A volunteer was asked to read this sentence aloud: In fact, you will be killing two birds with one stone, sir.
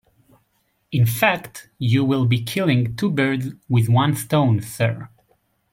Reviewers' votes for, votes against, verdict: 2, 0, accepted